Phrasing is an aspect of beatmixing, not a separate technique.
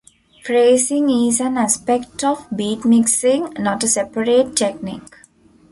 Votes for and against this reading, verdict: 2, 1, accepted